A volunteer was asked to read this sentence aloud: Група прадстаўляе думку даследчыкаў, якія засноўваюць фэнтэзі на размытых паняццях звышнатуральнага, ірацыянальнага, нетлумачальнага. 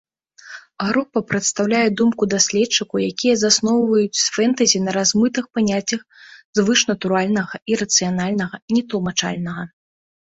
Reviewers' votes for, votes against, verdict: 2, 0, accepted